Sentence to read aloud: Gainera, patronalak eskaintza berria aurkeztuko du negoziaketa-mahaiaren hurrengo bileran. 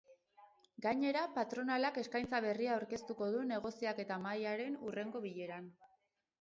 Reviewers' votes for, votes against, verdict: 0, 2, rejected